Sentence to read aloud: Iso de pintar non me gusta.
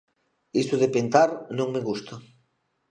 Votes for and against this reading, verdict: 1, 2, rejected